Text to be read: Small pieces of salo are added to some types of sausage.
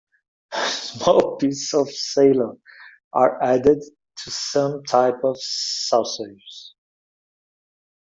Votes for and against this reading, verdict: 0, 2, rejected